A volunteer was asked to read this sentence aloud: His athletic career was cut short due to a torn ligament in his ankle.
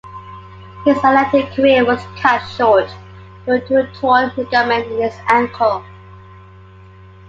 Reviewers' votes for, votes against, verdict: 2, 1, accepted